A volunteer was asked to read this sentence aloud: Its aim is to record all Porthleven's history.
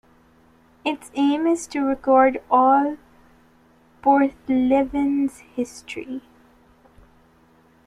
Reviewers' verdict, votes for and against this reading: accepted, 2, 1